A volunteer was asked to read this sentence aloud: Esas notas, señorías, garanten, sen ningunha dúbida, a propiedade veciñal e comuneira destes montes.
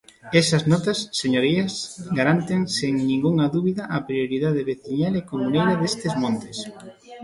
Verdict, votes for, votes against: rejected, 0, 2